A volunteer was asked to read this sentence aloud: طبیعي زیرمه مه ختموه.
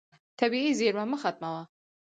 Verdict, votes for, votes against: accepted, 4, 0